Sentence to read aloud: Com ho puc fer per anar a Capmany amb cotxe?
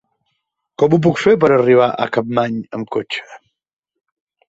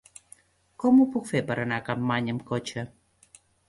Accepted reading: second